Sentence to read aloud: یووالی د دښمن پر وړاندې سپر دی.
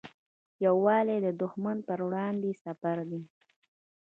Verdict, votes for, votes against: accepted, 2, 1